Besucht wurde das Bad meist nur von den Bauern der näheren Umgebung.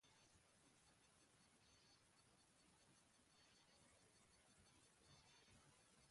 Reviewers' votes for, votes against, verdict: 0, 2, rejected